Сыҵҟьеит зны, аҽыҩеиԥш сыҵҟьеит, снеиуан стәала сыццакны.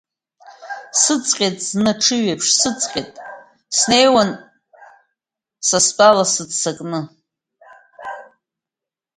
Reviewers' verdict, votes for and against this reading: rejected, 0, 2